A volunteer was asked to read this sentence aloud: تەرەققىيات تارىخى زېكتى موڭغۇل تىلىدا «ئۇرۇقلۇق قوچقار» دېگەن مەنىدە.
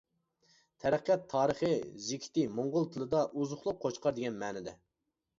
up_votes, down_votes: 0, 2